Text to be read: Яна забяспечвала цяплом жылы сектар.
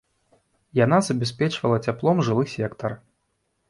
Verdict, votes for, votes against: accepted, 2, 0